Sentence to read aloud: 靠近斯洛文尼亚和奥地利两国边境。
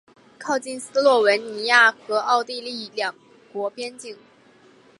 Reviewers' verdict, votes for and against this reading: accepted, 2, 0